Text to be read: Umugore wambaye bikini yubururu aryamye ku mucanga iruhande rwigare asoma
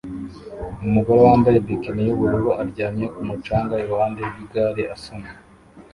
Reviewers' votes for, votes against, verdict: 1, 2, rejected